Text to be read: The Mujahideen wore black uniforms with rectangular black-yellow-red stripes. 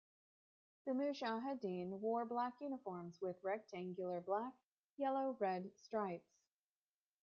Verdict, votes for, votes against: rejected, 0, 2